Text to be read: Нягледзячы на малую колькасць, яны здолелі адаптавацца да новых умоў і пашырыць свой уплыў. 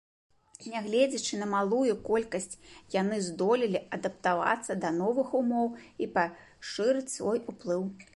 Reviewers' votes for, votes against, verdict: 2, 0, accepted